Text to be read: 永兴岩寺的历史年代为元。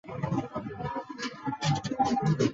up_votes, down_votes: 0, 4